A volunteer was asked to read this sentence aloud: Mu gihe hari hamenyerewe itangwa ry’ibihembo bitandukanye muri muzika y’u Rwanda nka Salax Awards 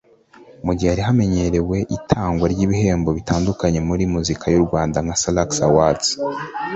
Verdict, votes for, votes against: accepted, 2, 0